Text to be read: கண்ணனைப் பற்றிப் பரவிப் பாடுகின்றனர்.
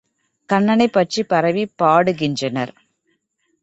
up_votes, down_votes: 2, 0